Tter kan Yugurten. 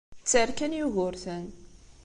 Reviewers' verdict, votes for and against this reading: accepted, 2, 0